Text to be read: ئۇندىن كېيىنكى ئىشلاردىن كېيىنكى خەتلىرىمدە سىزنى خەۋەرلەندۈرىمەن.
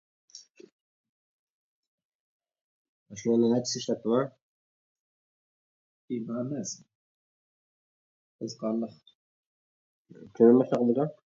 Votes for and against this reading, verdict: 0, 2, rejected